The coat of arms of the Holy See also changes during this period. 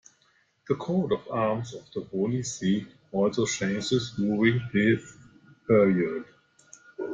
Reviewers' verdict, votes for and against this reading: rejected, 0, 2